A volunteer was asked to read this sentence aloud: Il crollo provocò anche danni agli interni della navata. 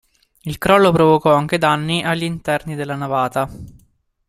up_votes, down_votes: 2, 0